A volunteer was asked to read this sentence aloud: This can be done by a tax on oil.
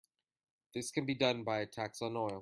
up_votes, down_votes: 2, 0